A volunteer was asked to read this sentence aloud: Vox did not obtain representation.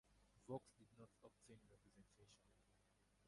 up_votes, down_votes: 2, 4